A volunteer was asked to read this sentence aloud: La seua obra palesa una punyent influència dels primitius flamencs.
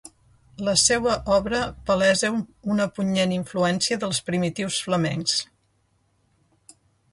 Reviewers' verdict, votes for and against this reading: rejected, 1, 2